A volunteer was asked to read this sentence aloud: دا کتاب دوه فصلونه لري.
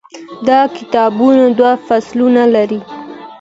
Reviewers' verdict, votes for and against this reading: accepted, 2, 0